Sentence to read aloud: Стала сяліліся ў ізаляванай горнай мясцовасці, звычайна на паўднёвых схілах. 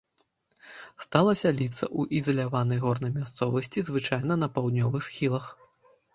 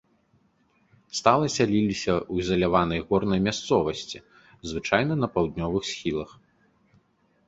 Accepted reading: second